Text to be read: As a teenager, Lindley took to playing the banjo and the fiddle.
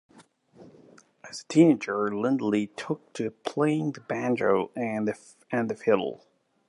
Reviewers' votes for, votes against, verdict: 1, 2, rejected